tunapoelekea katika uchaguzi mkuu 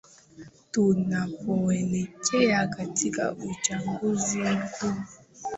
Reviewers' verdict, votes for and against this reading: accepted, 11, 2